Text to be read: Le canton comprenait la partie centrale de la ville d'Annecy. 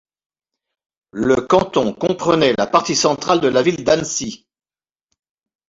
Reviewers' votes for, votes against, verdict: 2, 0, accepted